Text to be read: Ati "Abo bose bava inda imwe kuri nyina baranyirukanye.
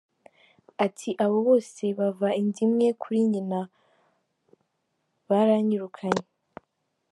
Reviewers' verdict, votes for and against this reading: accepted, 2, 1